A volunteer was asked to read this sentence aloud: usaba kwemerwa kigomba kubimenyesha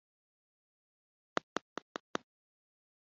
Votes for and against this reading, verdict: 0, 3, rejected